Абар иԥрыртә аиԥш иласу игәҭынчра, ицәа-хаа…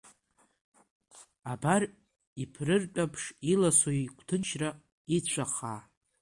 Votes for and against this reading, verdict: 1, 2, rejected